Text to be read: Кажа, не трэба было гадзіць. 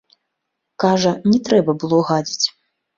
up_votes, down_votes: 2, 0